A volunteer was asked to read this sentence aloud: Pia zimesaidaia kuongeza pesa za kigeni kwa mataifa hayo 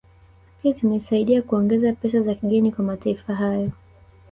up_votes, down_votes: 1, 2